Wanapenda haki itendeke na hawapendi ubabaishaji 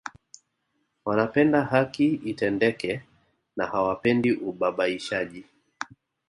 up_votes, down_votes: 2, 0